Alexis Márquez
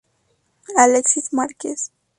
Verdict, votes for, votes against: accepted, 4, 0